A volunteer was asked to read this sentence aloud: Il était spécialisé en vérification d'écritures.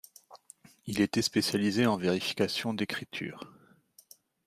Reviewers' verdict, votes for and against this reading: accepted, 2, 0